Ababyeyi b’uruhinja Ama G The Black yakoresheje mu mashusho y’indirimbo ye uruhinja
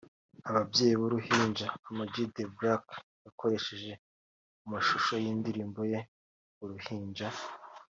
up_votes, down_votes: 2, 0